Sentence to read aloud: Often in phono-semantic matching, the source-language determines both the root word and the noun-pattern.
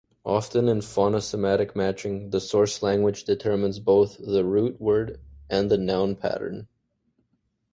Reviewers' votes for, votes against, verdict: 2, 1, accepted